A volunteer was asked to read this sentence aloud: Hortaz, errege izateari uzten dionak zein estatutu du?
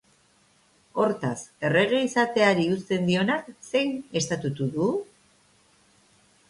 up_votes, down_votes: 2, 0